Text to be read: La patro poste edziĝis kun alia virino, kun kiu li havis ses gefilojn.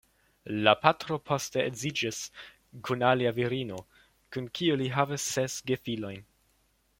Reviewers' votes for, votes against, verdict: 2, 0, accepted